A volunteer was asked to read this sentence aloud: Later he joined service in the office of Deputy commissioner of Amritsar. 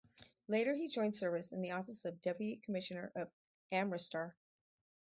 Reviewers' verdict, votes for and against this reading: accepted, 6, 4